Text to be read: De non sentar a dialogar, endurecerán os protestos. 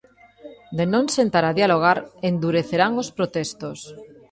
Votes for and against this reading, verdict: 1, 2, rejected